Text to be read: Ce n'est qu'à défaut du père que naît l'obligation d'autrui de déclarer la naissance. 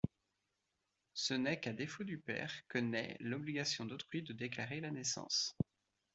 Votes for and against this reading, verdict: 2, 0, accepted